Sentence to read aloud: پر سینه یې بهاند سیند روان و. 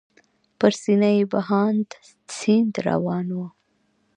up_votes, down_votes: 0, 2